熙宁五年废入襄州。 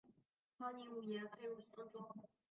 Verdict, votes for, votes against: rejected, 0, 3